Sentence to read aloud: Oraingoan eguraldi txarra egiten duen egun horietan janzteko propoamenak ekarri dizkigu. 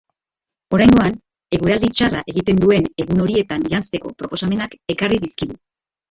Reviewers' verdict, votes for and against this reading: rejected, 1, 3